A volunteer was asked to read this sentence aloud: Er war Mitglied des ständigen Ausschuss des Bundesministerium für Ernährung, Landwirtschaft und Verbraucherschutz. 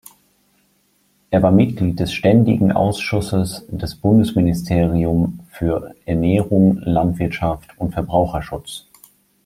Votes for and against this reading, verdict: 1, 2, rejected